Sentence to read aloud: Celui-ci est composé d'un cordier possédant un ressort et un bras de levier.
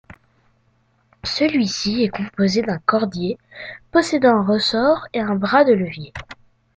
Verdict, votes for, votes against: accepted, 2, 0